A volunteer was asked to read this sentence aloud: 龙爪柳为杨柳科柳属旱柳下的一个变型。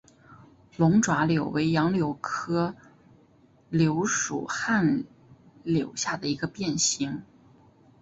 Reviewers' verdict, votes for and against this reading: accepted, 4, 0